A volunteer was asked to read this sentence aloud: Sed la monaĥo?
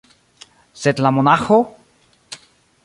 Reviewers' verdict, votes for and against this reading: rejected, 1, 2